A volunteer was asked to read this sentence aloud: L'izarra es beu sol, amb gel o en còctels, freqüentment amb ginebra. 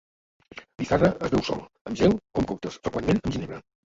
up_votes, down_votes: 0, 3